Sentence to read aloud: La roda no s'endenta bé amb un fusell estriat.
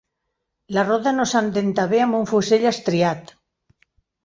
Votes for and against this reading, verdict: 1, 2, rejected